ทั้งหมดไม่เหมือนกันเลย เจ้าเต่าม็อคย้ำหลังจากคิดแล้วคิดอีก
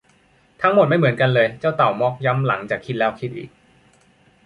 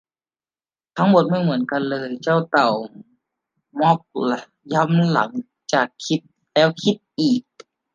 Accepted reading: first